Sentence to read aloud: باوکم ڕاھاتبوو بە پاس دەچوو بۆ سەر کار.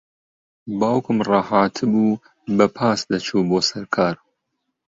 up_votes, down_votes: 2, 0